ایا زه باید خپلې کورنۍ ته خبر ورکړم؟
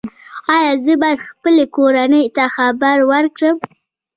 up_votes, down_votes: 2, 1